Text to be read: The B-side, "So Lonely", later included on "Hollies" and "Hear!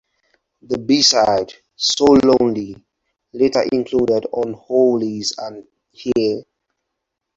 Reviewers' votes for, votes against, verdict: 0, 4, rejected